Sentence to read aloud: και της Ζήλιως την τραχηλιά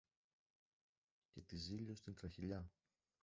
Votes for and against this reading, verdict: 1, 2, rejected